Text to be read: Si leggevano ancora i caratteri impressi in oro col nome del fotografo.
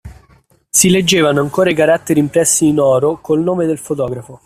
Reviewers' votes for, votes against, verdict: 2, 1, accepted